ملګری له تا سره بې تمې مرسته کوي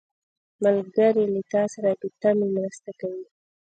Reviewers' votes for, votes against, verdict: 2, 1, accepted